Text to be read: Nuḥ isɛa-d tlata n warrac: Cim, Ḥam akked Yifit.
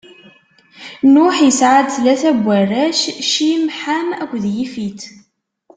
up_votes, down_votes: 2, 0